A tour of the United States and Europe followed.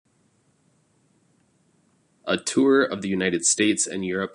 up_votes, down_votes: 0, 2